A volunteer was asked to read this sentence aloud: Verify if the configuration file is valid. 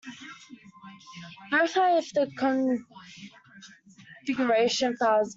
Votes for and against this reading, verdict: 0, 2, rejected